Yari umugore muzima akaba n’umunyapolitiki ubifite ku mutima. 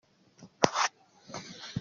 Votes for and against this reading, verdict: 0, 2, rejected